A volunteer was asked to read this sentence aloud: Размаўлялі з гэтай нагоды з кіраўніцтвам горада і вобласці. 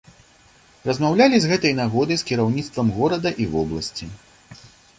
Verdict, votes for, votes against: accepted, 2, 0